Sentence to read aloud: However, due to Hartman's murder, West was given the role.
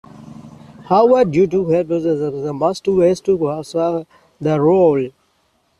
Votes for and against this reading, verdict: 0, 2, rejected